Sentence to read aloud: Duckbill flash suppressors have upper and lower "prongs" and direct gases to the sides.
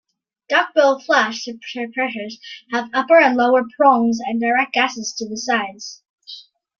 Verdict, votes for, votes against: rejected, 0, 2